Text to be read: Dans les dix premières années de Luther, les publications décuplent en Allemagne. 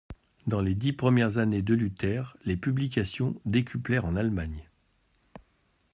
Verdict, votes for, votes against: rejected, 1, 2